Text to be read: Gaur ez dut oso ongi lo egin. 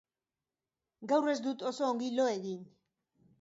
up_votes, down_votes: 3, 0